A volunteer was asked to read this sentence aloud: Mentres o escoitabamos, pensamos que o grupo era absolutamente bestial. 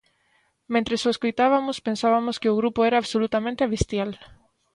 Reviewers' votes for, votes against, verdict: 0, 2, rejected